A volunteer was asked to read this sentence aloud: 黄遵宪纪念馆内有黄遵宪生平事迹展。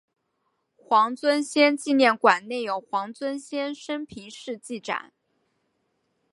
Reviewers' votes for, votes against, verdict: 2, 0, accepted